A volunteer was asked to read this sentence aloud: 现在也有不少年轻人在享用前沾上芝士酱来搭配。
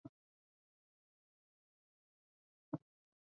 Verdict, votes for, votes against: rejected, 0, 3